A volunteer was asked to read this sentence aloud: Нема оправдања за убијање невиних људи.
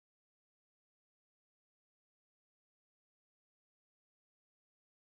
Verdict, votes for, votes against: rejected, 0, 2